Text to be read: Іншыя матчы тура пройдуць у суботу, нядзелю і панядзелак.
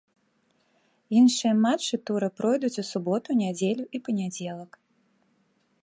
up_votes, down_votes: 2, 0